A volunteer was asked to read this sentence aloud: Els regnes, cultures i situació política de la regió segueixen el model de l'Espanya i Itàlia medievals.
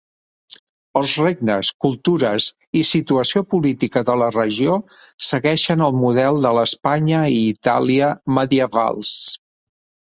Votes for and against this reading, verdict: 3, 0, accepted